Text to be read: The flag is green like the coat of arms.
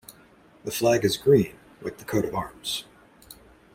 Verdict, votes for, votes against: accepted, 2, 0